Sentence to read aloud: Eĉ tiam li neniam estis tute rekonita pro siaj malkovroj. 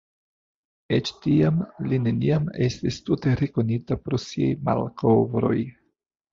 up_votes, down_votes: 2, 0